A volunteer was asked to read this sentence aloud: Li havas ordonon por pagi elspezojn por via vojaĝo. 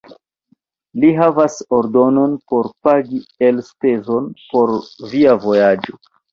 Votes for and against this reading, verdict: 1, 2, rejected